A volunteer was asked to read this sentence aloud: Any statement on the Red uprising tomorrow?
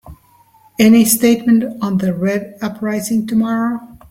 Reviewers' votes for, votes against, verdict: 2, 0, accepted